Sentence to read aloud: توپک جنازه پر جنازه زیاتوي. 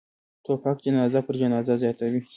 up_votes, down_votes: 2, 0